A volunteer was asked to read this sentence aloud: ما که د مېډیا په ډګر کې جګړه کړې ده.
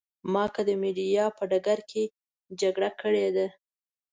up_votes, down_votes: 2, 0